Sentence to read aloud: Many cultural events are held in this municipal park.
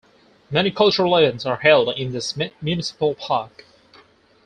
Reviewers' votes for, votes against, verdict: 0, 4, rejected